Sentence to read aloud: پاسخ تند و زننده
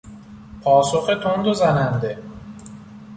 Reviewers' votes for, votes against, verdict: 2, 0, accepted